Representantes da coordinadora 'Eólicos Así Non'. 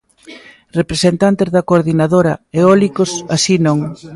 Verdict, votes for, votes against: rejected, 1, 2